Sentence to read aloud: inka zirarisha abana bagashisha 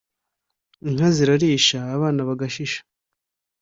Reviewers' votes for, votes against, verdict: 2, 0, accepted